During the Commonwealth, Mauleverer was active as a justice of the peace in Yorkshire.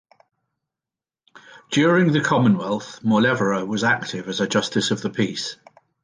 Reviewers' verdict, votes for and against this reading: rejected, 1, 2